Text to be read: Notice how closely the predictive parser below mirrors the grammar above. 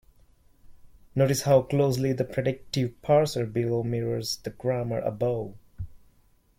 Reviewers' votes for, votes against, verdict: 2, 0, accepted